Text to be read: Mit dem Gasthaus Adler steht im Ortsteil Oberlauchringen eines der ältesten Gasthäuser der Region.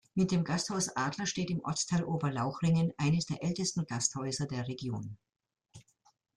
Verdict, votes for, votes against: accepted, 2, 0